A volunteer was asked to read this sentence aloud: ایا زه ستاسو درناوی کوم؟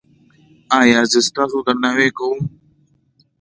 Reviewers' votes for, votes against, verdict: 2, 0, accepted